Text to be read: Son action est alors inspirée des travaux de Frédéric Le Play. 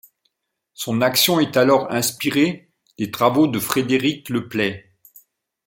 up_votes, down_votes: 2, 0